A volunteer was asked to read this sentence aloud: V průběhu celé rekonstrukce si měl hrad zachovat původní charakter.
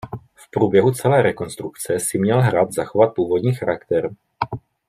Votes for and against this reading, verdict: 2, 0, accepted